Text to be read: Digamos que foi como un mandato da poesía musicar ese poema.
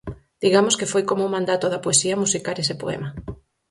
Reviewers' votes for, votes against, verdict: 4, 0, accepted